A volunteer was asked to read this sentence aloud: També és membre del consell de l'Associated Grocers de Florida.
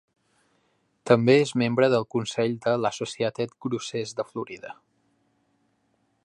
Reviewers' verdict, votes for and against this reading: accepted, 2, 0